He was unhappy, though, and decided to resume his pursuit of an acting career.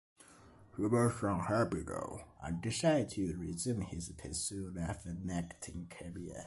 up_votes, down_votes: 0, 2